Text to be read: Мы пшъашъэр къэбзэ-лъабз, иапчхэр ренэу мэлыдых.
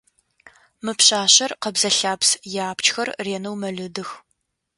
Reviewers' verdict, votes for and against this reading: accepted, 2, 0